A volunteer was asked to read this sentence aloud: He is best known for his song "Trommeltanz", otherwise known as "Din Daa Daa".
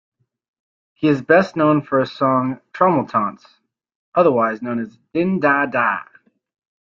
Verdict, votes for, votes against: rejected, 0, 2